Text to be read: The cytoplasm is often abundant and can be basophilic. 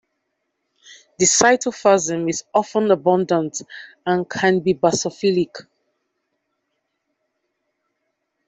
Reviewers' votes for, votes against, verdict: 1, 2, rejected